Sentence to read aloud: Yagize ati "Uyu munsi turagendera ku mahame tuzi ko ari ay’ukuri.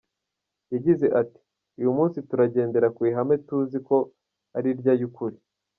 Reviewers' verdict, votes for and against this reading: rejected, 1, 2